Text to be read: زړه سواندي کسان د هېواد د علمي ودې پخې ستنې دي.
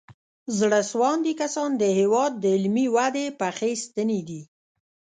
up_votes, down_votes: 1, 2